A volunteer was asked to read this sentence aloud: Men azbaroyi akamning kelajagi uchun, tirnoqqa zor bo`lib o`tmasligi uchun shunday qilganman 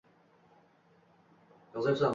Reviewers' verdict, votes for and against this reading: rejected, 1, 2